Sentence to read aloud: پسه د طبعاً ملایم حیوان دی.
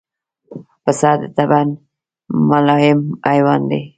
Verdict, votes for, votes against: accepted, 2, 0